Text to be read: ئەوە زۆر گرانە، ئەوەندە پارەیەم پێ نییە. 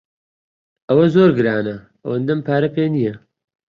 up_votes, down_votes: 1, 2